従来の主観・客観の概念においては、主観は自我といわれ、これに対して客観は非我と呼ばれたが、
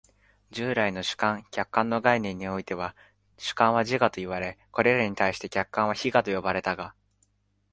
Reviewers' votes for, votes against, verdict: 1, 2, rejected